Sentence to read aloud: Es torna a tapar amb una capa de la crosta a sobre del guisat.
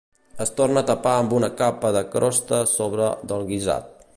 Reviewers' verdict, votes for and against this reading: rejected, 0, 2